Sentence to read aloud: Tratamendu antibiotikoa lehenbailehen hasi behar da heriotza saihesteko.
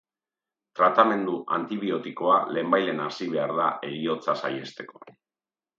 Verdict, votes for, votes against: accepted, 3, 1